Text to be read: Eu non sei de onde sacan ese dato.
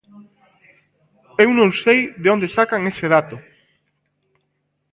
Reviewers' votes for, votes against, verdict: 2, 0, accepted